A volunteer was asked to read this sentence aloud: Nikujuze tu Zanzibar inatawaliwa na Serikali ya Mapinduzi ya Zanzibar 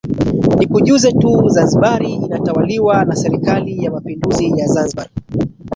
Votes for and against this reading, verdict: 0, 2, rejected